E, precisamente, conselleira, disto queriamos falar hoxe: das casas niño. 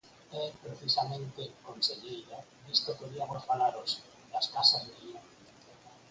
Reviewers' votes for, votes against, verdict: 0, 4, rejected